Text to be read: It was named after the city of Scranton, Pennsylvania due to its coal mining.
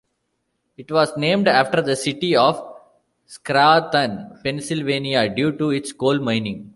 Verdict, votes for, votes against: rejected, 0, 2